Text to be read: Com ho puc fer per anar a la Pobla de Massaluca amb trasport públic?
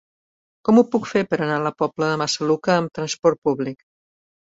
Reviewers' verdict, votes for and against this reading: accepted, 3, 0